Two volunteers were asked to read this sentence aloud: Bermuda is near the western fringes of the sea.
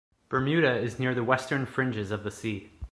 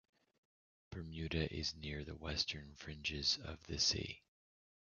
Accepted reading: first